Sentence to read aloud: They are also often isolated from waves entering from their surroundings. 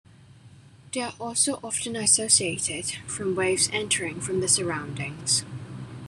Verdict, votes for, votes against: accepted, 2, 1